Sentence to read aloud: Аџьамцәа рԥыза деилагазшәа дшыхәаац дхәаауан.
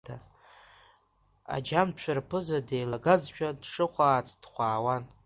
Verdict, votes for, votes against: accepted, 2, 0